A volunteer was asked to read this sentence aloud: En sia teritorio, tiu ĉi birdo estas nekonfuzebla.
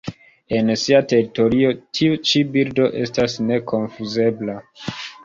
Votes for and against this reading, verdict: 2, 0, accepted